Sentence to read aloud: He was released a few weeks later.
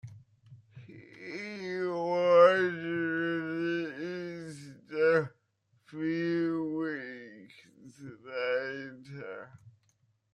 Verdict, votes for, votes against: accepted, 2, 1